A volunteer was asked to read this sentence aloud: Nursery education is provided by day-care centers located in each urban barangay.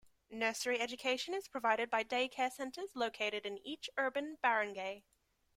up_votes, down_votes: 2, 0